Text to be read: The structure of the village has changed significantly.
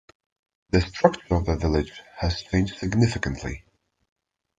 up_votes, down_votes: 0, 2